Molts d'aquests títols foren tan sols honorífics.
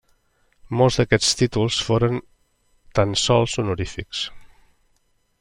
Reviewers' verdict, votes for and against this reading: accepted, 3, 0